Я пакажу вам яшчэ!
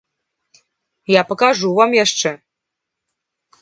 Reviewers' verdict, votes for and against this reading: accepted, 3, 0